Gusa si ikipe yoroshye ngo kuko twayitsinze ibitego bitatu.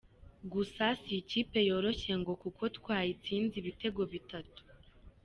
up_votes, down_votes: 2, 0